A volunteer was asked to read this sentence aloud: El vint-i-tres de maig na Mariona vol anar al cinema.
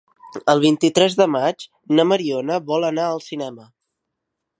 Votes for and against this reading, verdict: 3, 0, accepted